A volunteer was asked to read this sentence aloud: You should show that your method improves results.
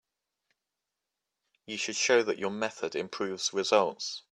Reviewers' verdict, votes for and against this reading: accepted, 2, 0